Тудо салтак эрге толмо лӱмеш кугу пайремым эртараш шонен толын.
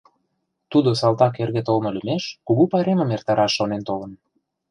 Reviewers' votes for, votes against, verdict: 2, 0, accepted